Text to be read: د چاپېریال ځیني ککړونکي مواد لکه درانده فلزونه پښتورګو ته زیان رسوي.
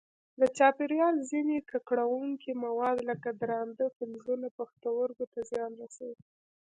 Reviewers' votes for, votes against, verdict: 2, 0, accepted